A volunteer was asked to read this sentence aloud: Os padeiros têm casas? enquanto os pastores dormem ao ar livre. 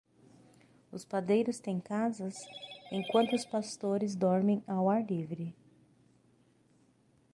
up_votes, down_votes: 6, 0